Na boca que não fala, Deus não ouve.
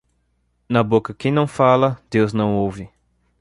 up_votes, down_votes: 2, 0